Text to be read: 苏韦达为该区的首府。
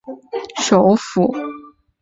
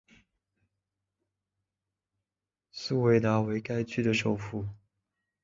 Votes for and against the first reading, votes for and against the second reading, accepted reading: 0, 3, 2, 0, second